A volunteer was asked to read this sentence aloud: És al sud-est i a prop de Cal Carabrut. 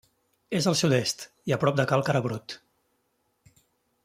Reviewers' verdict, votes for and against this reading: accepted, 3, 0